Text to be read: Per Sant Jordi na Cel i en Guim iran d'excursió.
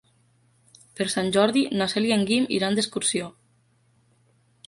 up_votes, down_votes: 4, 0